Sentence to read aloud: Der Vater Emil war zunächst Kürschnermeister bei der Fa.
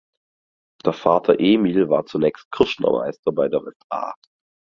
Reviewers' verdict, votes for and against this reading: rejected, 0, 4